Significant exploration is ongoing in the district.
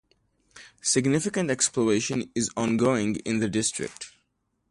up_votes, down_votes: 2, 0